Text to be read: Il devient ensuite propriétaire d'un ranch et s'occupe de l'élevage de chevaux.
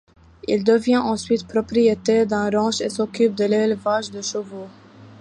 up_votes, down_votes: 2, 0